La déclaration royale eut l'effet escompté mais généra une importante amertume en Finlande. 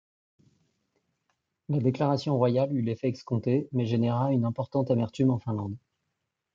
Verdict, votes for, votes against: accepted, 3, 0